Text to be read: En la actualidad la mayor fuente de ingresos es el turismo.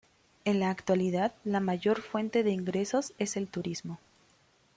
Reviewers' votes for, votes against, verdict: 2, 0, accepted